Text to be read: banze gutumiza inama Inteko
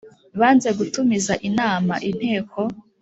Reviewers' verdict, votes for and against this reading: accepted, 4, 0